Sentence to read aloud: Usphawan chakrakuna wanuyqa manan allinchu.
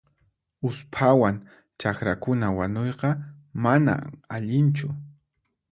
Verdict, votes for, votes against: rejected, 0, 4